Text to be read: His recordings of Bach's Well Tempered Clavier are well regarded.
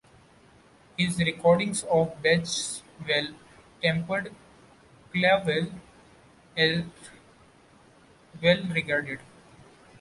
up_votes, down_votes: 0, 2